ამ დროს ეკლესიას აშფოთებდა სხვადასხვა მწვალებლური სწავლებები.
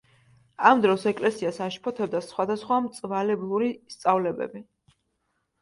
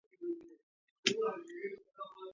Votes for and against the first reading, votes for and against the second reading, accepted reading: 2, 0, 0, 2, first